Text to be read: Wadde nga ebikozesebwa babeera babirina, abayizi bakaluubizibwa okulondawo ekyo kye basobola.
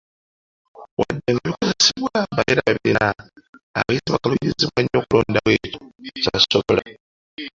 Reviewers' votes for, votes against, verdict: 0, 2, rejected